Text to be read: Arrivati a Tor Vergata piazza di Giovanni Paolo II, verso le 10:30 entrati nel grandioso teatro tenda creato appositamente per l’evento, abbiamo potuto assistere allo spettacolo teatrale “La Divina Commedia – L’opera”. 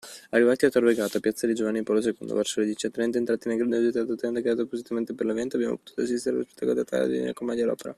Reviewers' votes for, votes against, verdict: 0, 2, rejected